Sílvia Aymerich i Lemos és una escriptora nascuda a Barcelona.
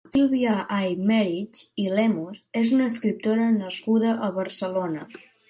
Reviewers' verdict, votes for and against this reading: rejected, 1, 2